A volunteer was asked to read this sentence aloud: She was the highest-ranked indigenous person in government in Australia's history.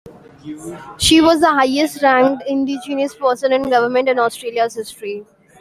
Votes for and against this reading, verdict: 2, 1, accepted